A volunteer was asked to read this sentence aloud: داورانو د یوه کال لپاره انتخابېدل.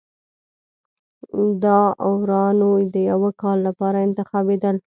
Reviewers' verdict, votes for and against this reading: rejected, 1, 2